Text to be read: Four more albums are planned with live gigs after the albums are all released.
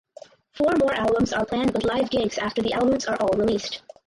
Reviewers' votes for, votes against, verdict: 2, 2, rejected